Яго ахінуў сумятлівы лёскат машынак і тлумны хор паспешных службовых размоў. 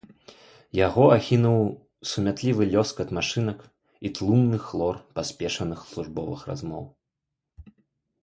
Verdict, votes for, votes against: rejected, 0, 2